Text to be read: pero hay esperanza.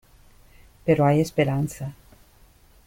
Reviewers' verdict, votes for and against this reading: accepted, 2, 0